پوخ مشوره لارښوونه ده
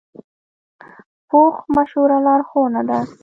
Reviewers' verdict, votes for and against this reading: accepted, 2, 0